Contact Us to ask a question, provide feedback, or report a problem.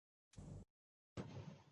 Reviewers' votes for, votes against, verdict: 0, 2, rejected